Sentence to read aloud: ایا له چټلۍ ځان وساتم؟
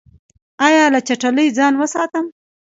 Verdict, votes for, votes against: rejected, 0, 2